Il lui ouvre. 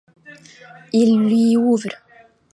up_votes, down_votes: 2, 0